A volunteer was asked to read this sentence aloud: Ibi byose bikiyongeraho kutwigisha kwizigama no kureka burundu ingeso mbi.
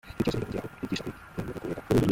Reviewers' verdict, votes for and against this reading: rejected, 0, 2